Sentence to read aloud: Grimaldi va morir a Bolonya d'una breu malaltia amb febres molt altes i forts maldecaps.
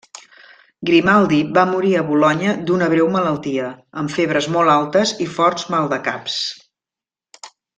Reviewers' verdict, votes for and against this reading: accepted, 2, 0